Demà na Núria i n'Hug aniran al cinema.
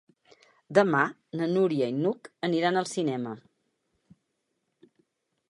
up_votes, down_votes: 6, 0